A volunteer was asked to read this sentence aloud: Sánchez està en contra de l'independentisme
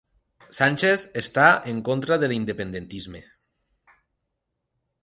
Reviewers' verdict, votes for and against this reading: accepted, 3, 0